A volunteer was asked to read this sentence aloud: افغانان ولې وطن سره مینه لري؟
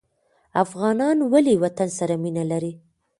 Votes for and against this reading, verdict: 2, 1, accepted